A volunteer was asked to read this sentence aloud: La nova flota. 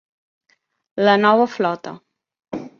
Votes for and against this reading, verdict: 2, 0, accepted